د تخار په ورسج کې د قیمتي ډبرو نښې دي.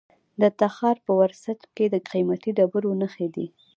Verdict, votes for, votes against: accepted, 2, 0